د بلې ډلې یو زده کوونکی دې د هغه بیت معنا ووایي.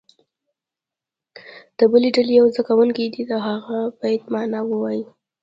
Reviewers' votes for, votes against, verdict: 2, 1, accepted